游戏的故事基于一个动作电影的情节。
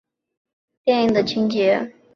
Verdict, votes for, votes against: rejected, 0, 3